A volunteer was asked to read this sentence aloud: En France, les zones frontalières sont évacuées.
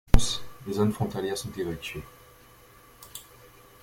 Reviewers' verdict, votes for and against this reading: rejected, 1, 2